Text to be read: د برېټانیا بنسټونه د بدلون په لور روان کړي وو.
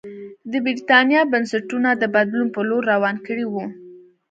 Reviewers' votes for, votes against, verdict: 2, 0, accepted